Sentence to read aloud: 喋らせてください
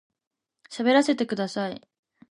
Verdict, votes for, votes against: rejected, 1, 2